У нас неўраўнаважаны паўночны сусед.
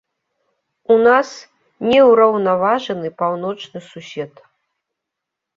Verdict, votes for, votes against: accepted, 3, 0